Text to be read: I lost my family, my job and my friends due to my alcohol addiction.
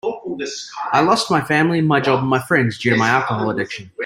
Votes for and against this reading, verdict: 0, 2, rejected